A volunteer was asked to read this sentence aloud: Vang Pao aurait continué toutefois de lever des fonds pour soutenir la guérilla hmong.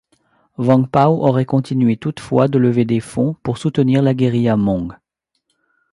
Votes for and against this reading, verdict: 2, 0, accepted